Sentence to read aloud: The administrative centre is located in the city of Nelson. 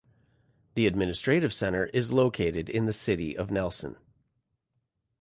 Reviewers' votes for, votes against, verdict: 2, 0, accepted